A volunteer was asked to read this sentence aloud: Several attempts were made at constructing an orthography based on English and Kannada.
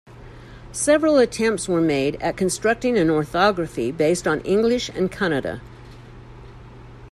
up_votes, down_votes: 2, 0